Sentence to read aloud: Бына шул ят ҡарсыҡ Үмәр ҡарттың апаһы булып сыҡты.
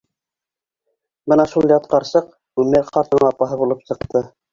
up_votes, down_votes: 1, 2